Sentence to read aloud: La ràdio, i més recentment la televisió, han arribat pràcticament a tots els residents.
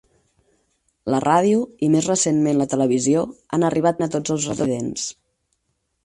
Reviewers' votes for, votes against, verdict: 2, 4, rejected